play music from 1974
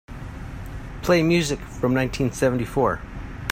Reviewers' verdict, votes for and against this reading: rejected, 0, 2